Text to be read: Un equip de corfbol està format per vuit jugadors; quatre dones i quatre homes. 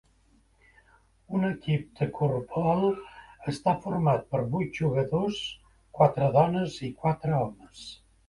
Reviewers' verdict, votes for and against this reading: rejected, 1, 2